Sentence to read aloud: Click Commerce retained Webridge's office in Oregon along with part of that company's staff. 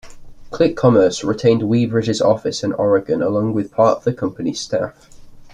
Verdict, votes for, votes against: accepted, 2, 1